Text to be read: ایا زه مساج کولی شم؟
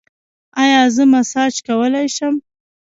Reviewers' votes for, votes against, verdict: 2, 0, accepted